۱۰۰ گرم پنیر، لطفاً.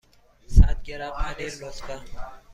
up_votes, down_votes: 0, 2